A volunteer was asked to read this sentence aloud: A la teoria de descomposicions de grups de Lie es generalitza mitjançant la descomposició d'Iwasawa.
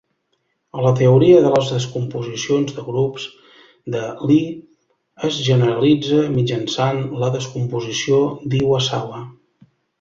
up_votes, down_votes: 2, 0